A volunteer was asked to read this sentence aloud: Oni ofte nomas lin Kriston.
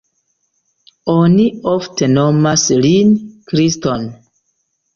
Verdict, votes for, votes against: accepted, 2, 0